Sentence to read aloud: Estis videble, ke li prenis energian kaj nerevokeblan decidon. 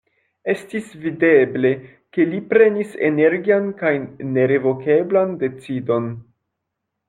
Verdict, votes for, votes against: rejected, 1, 2